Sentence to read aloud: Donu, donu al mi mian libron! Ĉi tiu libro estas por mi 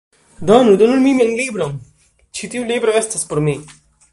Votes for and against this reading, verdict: 0, 2, rejected